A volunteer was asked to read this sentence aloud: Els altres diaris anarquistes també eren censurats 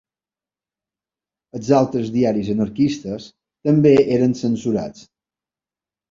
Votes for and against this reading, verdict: 2, 0, accepted